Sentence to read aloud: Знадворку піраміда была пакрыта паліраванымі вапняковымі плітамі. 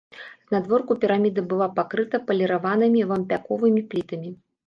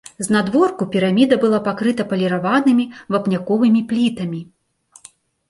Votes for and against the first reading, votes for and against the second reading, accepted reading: 1, 2, 2, 0, second